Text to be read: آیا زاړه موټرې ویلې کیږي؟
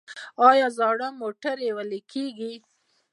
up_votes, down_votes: 2, 0